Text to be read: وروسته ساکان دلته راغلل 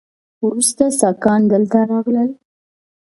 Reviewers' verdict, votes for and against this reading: accepted, 2, 0